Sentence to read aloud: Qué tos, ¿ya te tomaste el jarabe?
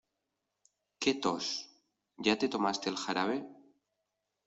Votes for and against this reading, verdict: 2, 0, accepted